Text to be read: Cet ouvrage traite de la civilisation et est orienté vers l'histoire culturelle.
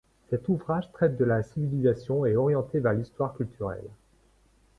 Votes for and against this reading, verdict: 1, 2, rejected